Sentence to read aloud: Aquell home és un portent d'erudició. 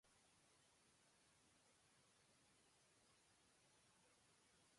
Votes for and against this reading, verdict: 0, 2, rejected